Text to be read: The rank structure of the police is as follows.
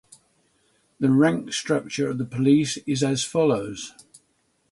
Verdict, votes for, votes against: accepted, 6, 0